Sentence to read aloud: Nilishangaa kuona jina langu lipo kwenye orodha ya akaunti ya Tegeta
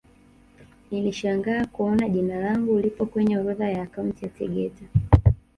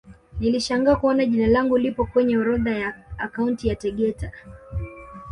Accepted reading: second